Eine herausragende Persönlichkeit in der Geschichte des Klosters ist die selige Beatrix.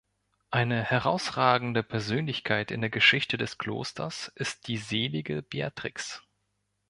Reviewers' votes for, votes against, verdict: 2, 0, accepted